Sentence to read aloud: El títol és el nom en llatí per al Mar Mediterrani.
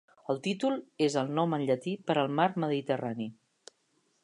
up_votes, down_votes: 3, 0